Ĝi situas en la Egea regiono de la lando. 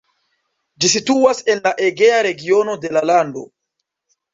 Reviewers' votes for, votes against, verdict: 2, 0, accepted